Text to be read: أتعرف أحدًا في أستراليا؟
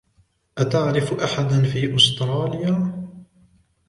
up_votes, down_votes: 2, 1